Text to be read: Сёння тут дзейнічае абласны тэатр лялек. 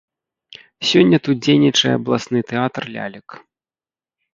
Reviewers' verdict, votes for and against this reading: accepted, 3, 0